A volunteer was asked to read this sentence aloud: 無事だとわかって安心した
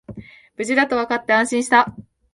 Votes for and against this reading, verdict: 2, 0, accepted